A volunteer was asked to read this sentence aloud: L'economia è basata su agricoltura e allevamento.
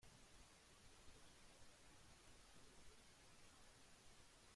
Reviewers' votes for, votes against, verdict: 0, 2, rejected